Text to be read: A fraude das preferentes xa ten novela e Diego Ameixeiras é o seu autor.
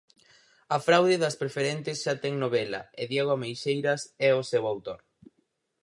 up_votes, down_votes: 4, 0